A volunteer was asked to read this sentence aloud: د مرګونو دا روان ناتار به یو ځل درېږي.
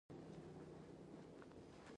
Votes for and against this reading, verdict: 1, 2, rejected